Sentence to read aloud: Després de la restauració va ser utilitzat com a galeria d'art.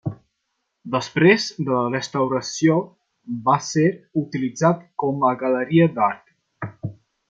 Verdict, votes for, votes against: rejected, 1, 2